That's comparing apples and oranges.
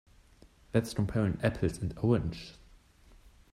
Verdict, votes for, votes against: rejected, 0, 2